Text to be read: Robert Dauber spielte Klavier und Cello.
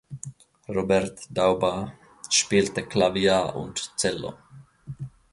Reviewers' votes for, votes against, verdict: 0, 2, rejected